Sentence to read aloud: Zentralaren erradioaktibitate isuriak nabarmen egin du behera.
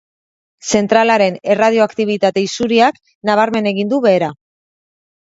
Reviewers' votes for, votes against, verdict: 2, 0, accepted